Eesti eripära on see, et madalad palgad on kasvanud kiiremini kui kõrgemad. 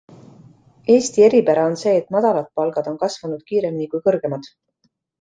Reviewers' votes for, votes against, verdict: 2, 1, accepted